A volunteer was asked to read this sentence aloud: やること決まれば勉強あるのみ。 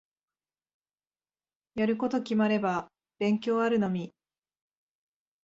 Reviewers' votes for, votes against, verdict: 2, 0, accepted